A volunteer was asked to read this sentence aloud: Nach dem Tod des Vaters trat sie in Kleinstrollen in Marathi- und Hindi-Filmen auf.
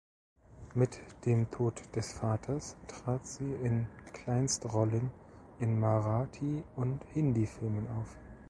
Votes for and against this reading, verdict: 1, 3, rejected